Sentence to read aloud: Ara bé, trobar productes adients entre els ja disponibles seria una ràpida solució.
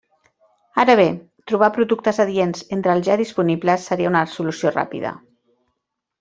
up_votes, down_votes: 0, 2